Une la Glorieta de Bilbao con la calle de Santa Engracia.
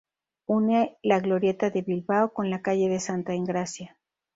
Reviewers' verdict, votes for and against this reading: accepted, 2, 0